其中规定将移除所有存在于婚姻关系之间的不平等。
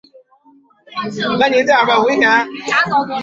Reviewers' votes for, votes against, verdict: 0, 2, rejected